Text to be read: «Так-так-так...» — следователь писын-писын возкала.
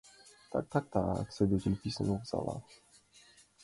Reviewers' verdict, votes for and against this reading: rejected, 0, 2